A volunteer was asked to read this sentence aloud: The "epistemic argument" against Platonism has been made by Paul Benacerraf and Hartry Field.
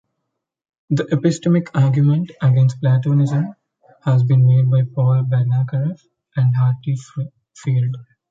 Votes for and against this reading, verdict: 1, 2, rejected